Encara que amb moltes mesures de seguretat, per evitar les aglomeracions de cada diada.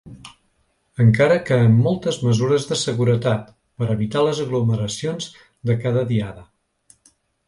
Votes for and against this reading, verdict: 2, 0, accepted